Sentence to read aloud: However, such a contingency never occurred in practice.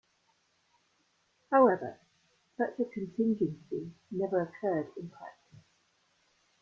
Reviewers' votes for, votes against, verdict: 2, 0, accepted